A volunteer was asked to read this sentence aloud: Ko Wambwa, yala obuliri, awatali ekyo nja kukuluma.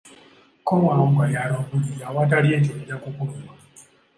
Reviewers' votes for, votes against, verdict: 2, 1, accepted